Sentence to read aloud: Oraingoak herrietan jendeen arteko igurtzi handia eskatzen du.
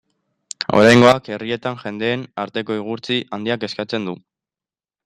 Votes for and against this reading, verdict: 0, 2, rejected